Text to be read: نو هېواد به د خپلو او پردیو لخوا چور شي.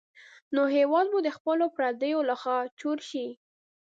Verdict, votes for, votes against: rejected, 0, 2